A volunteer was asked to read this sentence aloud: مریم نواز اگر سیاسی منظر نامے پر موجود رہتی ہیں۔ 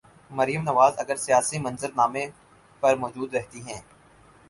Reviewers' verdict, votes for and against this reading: accepted, 4, 0